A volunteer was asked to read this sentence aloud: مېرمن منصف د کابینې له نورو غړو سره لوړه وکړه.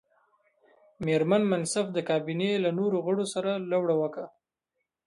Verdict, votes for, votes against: accepted, 2, 1